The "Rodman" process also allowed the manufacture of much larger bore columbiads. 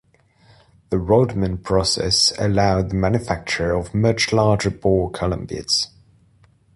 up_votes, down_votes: 0, 2